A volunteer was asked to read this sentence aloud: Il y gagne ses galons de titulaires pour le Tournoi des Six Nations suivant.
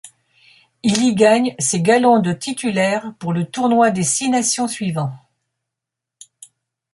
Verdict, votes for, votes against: accepted, 2, 0